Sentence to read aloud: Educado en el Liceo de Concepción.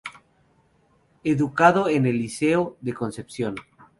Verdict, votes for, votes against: accepted, 2, 0